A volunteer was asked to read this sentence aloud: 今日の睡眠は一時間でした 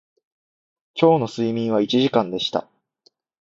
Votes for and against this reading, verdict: 2, 0, accepted